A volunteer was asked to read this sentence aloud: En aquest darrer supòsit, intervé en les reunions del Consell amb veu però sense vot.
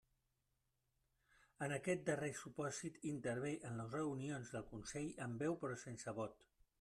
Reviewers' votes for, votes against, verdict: 1, 2, rejected